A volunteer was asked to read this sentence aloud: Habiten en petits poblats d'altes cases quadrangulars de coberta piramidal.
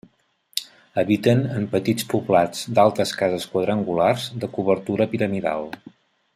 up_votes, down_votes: 1, 2